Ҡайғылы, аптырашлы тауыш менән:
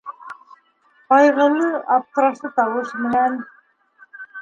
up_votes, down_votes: 2, 0